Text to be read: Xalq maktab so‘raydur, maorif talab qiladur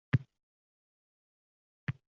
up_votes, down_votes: 0, 2